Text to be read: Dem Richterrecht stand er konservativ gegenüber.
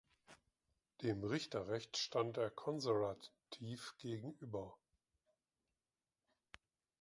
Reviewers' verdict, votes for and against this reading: rejected, 0, 2